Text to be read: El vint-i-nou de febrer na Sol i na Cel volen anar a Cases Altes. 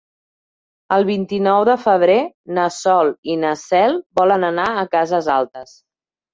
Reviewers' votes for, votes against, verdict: 2, 0, accepted